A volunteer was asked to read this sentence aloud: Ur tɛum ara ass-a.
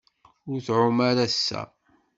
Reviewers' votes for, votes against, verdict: 2, 0, accepted